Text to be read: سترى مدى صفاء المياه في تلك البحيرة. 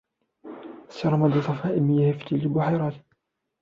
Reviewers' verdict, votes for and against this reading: rejected, 1, 2